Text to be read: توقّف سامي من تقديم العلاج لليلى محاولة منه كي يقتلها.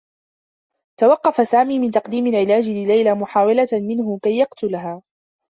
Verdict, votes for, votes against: rejected, 1, 2